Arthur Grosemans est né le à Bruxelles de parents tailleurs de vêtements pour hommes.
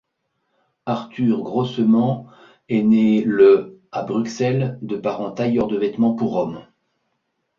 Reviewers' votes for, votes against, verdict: 2, 0, accepted